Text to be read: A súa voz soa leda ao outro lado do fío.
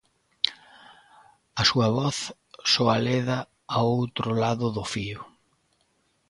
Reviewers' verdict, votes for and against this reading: accepted, 2, 0